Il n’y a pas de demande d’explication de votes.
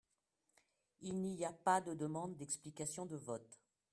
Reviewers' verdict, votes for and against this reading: rejected, 0, 2